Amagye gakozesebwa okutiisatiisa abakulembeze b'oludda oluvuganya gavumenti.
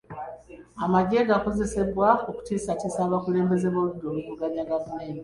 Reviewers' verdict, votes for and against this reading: rejected, 1, 2